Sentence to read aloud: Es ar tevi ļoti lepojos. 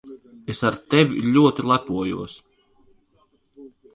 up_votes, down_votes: 2, 1